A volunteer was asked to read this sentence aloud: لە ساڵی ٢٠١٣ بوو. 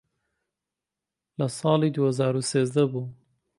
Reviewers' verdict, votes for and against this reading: rejected, 0, 2